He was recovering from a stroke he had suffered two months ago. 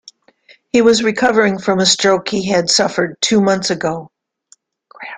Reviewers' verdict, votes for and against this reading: rejected, 1, 2